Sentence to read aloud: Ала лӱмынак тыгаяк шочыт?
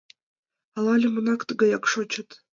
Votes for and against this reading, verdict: 2, 1, accepted